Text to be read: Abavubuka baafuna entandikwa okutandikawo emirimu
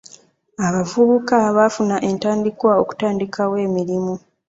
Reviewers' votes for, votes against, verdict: 2, 1, accepted